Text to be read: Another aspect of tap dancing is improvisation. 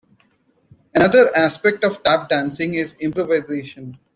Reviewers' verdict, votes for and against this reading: rejected, 1, 2